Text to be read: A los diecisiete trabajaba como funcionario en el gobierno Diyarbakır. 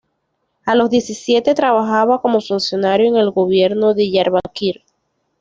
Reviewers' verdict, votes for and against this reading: accepted, 2, 0